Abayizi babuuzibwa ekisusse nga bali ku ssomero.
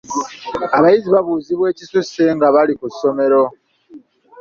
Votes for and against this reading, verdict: 2, 0, accepted